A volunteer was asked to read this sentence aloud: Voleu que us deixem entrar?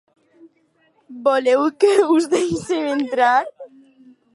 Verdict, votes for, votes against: rejected, 0, 2